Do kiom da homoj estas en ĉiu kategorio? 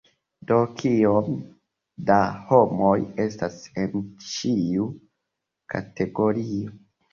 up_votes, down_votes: 2, 0